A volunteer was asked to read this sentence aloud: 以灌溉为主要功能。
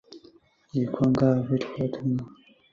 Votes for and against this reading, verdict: 0, 2, rejected